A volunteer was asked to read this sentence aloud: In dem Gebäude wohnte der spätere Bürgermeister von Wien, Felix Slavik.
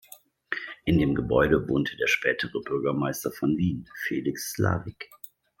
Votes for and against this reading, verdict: 2, 0, accepted